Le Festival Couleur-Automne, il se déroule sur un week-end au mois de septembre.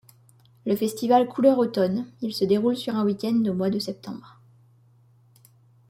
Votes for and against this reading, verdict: 2, 0, accepted